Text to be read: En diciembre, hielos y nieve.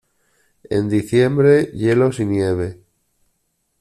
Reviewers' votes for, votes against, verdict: 2, 0, accepted